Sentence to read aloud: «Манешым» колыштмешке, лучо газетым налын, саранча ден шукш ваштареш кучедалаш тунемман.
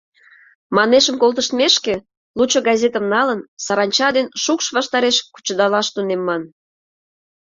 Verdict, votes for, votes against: rejected, 0, 2